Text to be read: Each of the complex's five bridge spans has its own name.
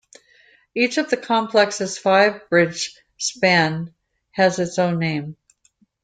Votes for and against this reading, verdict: 0, 2, rejected